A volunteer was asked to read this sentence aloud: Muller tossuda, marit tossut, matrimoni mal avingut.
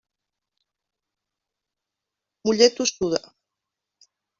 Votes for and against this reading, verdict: 0, 2, rejected